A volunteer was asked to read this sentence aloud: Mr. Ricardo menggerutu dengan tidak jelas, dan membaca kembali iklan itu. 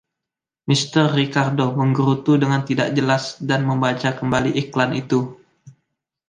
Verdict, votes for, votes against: accepted, 2, 0